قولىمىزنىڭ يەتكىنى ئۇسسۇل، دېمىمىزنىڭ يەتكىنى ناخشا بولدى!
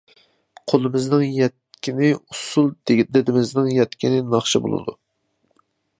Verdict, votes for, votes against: rejected, 0, 2